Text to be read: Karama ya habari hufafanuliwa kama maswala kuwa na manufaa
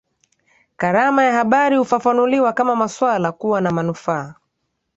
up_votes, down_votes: 2, 0